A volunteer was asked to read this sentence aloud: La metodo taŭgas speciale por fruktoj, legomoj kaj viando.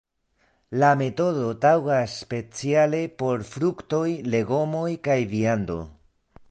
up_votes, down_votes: 2, 0